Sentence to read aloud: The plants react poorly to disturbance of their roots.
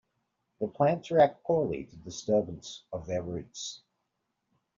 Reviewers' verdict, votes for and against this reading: accepted, 2, 0